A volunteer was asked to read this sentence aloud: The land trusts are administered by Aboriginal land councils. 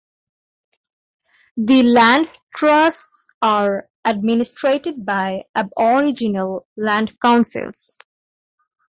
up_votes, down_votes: 1, 2